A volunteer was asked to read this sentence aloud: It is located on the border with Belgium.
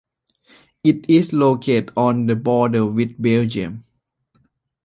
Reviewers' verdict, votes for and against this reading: rejected, 0, 2